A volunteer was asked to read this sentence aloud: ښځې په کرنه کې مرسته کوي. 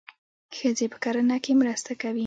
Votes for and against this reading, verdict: 1, 2, rejected